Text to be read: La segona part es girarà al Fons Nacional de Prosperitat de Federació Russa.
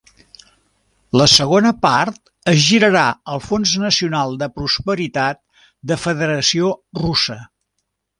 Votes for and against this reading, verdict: 2, 0, accepted